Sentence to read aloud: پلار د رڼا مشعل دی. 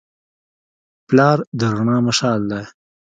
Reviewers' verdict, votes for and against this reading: accepted, 2, 0